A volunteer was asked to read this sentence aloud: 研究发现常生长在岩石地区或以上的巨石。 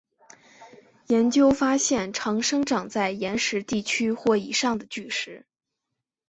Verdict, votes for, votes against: accepted, 3, 0